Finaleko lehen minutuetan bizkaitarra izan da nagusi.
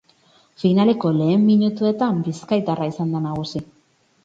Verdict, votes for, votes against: rejected, 0, 2